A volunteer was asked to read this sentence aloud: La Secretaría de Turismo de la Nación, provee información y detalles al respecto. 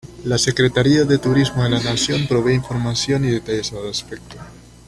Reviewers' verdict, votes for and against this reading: accepted, 2, 0